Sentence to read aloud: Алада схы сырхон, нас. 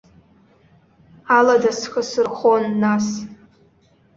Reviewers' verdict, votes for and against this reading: accepted, 2, 0